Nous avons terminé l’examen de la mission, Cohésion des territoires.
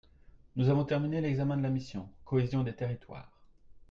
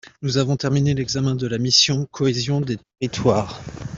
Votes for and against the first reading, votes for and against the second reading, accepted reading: 2, 0, 0, 2, first